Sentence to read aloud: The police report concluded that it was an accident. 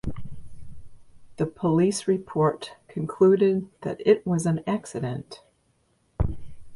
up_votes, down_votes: 2, 0